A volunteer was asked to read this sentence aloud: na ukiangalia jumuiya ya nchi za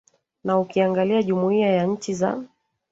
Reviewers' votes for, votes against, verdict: 1, 2, rejected